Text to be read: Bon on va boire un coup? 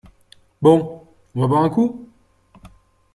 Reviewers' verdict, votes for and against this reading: accepted, 2, 0